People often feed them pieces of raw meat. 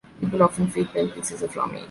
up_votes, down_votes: 2, 1